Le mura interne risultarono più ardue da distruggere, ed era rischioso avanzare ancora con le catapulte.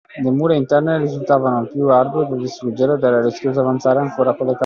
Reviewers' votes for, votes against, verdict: 0, 2, rejected